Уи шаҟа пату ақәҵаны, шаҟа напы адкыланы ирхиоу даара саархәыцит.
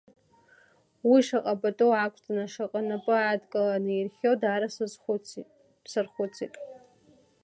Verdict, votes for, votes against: rejected, 0, 2